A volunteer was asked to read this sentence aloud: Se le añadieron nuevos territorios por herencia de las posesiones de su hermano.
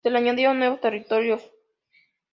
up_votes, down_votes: 0, 2